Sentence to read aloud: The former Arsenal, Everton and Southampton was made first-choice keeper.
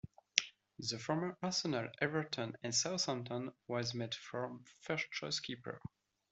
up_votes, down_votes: 0, 2